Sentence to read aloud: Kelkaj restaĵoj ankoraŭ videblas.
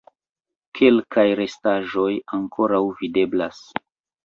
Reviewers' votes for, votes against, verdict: 2, 1, accepted